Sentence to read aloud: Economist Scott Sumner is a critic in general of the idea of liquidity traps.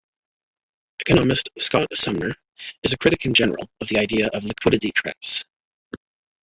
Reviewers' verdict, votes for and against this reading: rejected, 1, 2